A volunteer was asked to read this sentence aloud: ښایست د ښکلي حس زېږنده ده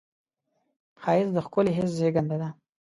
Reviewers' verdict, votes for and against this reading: accepted, 2, 0